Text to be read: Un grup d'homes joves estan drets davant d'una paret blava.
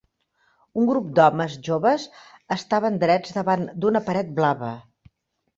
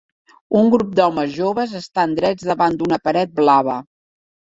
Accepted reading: second